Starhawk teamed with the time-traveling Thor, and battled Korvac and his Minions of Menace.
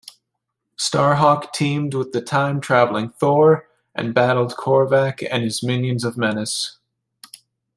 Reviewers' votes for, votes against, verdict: 2, 0, accepted